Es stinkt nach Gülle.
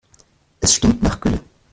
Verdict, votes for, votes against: rejected, 0, 2